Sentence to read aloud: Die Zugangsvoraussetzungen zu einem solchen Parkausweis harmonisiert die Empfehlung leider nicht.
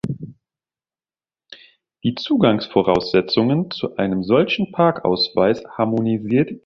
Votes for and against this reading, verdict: 0, 2, rejected